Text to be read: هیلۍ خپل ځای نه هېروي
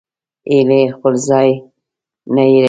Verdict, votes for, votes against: rejected, 0, 2